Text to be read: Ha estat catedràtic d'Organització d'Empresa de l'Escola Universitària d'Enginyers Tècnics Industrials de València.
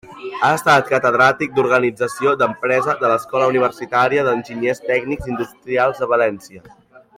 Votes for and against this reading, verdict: 2, 1, accepted